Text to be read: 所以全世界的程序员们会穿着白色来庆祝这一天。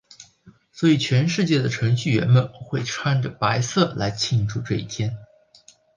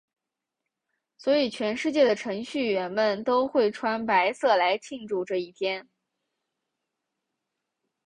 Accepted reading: first